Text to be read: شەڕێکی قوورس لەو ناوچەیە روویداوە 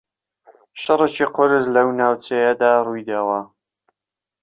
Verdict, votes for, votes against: rejected, 1, 2